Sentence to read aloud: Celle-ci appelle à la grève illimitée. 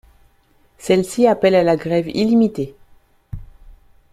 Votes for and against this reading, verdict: 2, 0, accepted